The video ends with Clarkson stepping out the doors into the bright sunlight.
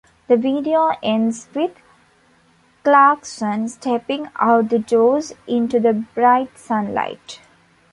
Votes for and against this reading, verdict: 2, 0, accepted